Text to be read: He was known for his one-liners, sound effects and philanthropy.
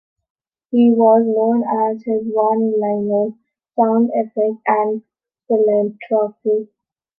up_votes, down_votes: 0, 2